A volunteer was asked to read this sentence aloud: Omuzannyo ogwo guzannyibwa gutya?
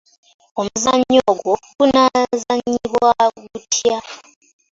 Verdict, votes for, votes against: rejected, 0, 2